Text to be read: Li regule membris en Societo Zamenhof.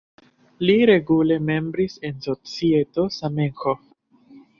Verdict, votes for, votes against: rejected, 0, 2